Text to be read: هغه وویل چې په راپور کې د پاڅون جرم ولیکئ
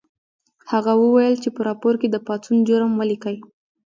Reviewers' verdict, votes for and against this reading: accepted, 2, 0